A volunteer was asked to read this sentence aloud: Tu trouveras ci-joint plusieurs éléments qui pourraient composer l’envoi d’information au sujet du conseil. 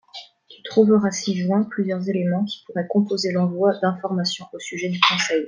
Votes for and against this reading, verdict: 2, 0, accepted